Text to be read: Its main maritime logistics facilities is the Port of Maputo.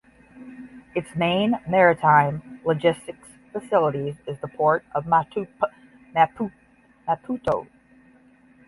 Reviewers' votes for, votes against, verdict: 0, 10, rejected